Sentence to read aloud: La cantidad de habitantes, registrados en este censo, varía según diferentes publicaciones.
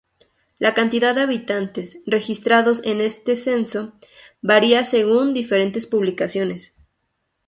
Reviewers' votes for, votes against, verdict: 2, 0, accepted